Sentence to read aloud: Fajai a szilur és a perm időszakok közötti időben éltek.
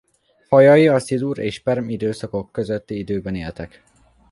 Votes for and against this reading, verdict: 2, 1, accepted